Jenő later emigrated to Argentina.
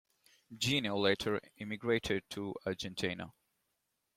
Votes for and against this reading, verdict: 2, 1, accepted